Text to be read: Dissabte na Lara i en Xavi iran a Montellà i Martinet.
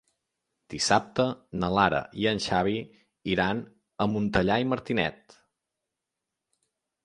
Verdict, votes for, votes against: accepted, 3, 0